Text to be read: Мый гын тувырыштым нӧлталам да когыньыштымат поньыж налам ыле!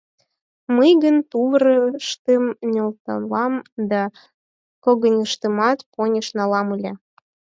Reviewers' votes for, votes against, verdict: 2, 10, rejected